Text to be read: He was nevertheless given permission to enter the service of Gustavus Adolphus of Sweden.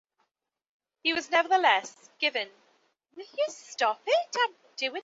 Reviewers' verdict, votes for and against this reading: rejected, 0, 2